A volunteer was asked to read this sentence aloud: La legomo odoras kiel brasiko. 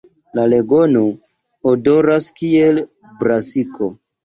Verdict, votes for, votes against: accepted, 2, 0